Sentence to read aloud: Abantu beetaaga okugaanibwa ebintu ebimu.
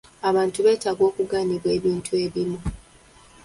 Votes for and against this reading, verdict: 2, 0, accepted